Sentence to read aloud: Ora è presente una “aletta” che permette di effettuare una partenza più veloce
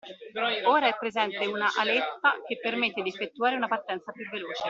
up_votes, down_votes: 0, 2